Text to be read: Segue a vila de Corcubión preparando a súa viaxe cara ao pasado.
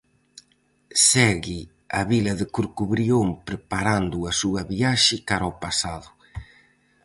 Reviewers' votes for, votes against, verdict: 0, 4, rejected